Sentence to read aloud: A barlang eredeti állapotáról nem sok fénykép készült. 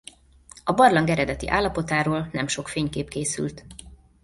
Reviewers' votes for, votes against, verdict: 2, 0, accepted